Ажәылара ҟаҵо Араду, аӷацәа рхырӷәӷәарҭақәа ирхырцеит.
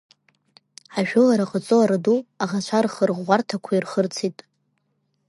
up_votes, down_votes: 2, 0